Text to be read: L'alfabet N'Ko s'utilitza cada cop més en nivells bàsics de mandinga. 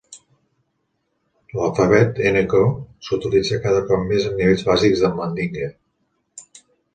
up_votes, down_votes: 1, 2